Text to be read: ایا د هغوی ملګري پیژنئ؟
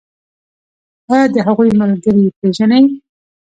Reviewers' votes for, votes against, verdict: 0, 2, rejected